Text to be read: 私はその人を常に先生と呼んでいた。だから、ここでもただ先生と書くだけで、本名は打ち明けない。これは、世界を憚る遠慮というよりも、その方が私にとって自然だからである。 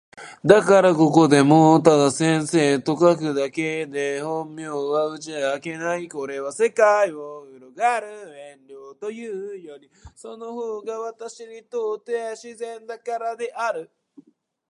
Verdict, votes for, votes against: rejected, 0, 2